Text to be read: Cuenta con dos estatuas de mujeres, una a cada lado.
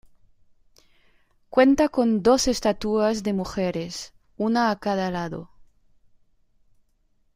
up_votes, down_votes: 2, 0